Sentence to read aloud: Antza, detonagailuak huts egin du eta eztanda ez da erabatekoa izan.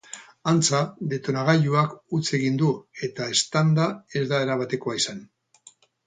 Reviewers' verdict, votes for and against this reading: accepted, 6, 0